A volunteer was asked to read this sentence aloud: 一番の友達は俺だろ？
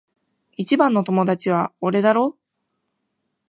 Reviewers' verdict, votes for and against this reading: accepted, 2, 0